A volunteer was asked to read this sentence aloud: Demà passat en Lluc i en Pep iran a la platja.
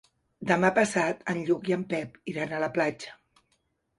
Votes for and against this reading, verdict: 4, 0, accepted